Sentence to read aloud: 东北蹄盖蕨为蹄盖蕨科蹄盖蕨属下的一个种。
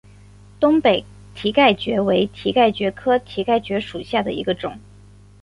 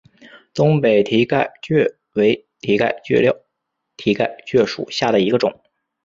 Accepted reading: first